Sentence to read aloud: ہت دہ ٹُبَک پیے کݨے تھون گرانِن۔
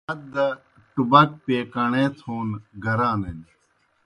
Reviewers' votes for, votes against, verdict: 2, 0, accepted